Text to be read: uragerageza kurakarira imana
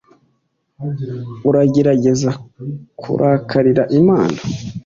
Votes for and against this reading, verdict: 2, 0, accepted